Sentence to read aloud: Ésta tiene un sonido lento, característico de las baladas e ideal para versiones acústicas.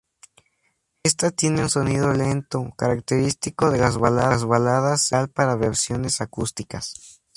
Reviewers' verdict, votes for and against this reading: rejected, 0, 2